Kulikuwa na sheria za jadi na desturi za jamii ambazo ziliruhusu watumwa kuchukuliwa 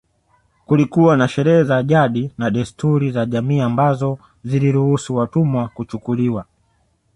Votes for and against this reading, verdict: 2, 1, accepted